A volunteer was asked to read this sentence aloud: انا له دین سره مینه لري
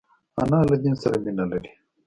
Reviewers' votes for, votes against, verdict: 2, 1, accepted